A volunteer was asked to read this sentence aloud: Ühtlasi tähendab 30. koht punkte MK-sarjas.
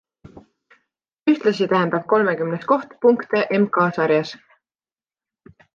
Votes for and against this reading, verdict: 0, 2, rejected